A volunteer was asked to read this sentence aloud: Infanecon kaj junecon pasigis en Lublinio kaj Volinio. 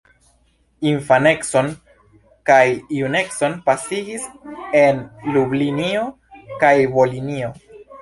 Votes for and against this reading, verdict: 2, 0, accepted